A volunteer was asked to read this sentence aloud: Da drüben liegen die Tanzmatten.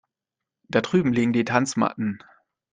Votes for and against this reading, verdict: 2, 0, accepted